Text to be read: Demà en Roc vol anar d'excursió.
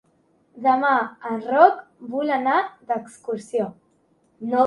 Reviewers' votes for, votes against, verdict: 2, 1, accepted